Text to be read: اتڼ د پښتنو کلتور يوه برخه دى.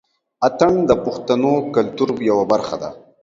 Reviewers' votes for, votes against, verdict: 2, 0, accepted